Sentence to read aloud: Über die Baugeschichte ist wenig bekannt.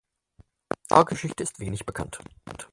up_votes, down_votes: 0, 4